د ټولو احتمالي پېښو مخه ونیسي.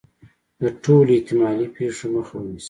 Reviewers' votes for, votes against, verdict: 2, 0, accepted